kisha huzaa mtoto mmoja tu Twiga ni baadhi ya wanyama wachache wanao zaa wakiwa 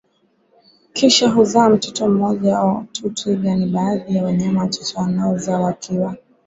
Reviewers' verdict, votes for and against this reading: accepted, 2, 1